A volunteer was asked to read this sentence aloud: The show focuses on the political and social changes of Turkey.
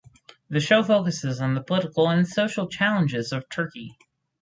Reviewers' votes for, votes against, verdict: 0, 4, rejected